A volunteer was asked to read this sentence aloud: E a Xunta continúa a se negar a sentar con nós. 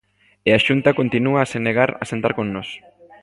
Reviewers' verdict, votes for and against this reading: accepted, 2, 0